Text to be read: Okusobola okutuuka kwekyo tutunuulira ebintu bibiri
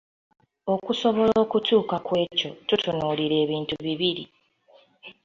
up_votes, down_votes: 2, 0